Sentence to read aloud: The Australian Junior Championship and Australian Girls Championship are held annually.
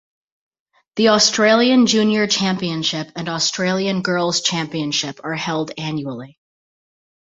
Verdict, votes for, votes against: accepted, 2, 0